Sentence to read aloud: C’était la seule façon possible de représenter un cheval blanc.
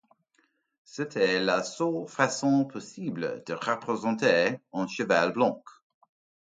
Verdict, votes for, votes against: accepted, 2, 0